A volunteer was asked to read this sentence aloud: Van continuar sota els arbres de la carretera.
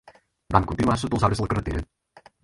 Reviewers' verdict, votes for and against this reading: rejected, 0, 4